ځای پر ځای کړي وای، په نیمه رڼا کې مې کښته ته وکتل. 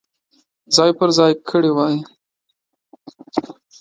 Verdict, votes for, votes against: rejected, 1, 2